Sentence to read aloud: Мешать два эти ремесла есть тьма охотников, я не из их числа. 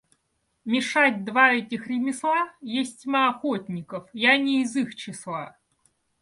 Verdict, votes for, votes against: accepted, 2, 0